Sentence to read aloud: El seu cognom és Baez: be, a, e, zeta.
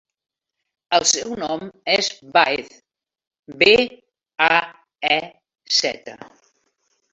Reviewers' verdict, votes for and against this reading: rejected, 0, 2